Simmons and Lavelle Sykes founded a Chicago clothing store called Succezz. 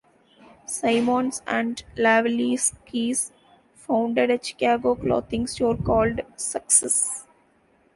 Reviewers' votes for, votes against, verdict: 0, 2, rejected